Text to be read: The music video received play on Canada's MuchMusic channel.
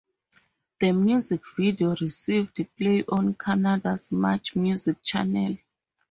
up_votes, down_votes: 4, 0